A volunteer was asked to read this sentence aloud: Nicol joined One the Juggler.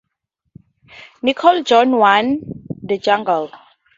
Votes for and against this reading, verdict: 2, 0, accepted